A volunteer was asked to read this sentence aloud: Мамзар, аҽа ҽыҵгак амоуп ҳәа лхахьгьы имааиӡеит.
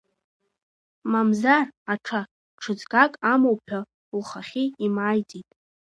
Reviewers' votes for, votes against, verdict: 1, 2, rejected